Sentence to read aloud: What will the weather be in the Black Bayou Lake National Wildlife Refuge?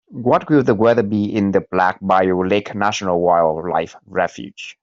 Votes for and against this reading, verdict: 3, 0, accepted